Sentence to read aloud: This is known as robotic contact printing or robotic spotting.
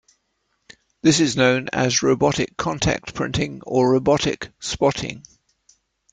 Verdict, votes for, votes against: accepted, 2, 0